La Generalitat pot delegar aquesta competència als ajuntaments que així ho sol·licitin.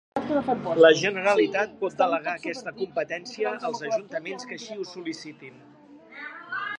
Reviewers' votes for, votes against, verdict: 1, 2, rejected